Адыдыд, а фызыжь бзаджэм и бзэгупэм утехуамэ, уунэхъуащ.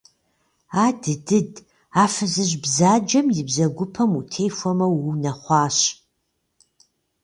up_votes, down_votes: 1, 2